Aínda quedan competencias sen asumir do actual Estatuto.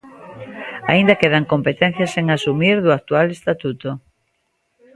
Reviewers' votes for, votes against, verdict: 1, 2, rejected